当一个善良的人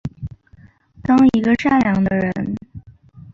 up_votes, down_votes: 3, 0